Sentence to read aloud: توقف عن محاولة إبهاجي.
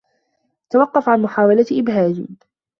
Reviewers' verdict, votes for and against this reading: accepted, 2, 0